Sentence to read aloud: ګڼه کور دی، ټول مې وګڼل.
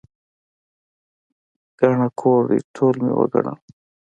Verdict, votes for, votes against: accepted, 2, 1